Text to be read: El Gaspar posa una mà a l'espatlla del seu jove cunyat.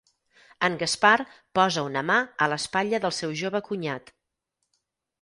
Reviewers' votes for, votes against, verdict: 0, 4, rejected